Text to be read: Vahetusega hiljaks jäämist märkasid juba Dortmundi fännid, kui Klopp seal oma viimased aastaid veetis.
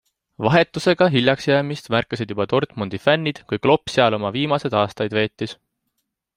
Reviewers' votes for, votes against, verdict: 2, 0, accepted